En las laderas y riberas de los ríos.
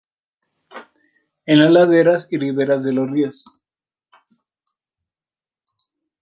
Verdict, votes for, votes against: accepted, 2, 0